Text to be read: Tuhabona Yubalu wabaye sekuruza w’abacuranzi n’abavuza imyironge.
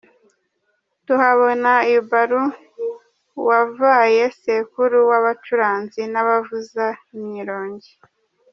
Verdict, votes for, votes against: accepted, 2, 0